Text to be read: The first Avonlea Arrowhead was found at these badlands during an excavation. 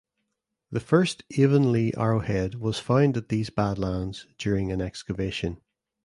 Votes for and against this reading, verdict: 2, 0, accepted